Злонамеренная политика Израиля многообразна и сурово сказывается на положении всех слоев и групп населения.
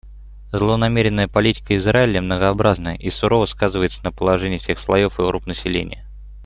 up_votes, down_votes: 1, 2